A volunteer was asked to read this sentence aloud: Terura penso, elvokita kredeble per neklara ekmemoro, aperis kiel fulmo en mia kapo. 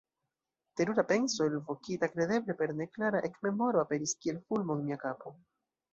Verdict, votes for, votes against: rejected, 1, 2